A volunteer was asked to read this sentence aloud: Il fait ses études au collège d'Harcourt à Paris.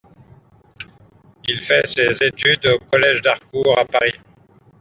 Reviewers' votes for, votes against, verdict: 2, 0, accepted